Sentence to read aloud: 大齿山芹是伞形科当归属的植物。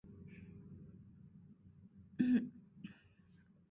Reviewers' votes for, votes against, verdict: 4, 2, accepted